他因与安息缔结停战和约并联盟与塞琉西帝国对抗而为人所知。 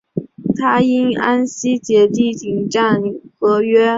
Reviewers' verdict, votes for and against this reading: rejected, 3, 6